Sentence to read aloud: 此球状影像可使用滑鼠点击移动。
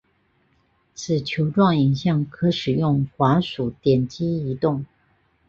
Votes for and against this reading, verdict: 3, 0, accepted